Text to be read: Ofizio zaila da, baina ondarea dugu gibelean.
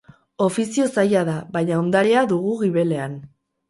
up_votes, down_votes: 0, 2